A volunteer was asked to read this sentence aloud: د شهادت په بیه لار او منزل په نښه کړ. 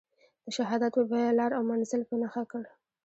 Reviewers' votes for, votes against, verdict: 2, 0, accepted